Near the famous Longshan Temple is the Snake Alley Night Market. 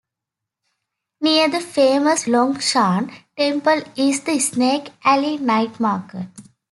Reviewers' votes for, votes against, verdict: 2, 0, accepted